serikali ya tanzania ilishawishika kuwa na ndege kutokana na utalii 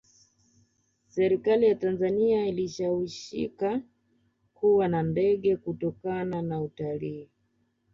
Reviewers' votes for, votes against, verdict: 2, 0, accepted